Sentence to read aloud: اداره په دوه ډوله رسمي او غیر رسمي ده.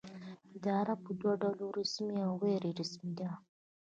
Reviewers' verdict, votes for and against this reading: accepted, 2, 0